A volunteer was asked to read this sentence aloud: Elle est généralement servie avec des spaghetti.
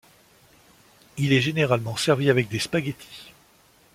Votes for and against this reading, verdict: 1, 2, rejected